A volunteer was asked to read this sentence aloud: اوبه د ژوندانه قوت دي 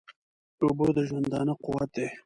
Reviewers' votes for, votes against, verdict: 2, 0, accepted